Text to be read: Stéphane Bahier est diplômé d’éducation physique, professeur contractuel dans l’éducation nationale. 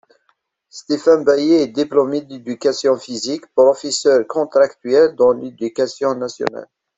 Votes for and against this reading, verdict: 2, 0, accepted